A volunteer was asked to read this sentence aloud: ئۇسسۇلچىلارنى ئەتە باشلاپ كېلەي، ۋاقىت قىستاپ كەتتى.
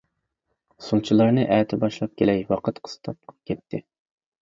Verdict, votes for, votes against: rejected, 0, 2